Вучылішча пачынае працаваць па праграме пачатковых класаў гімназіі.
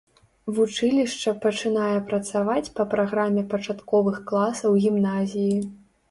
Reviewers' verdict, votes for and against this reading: accepted, 3, 0